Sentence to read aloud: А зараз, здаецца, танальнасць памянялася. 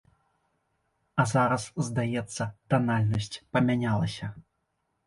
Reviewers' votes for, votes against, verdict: 2, 0, accepted